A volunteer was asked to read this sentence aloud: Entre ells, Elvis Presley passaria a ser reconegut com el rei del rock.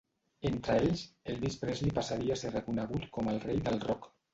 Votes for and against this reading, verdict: 0, 2, rejected